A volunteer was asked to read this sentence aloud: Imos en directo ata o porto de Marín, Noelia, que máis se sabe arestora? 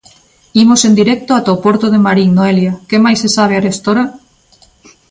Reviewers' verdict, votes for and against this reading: accepted, 2, 0